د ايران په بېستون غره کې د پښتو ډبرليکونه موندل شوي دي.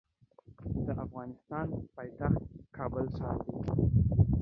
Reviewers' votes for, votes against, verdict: 1, 2, rejected